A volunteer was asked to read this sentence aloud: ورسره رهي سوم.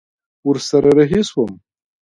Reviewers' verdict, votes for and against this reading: rejected, 1, 2